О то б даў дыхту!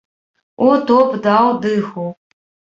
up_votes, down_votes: 1, 2